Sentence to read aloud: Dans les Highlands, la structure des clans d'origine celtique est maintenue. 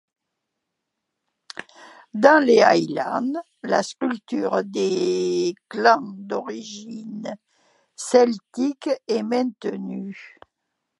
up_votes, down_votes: 2, 0